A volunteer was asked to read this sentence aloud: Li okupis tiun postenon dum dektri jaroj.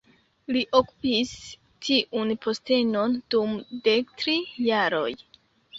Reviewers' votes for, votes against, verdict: 0, 2, rejected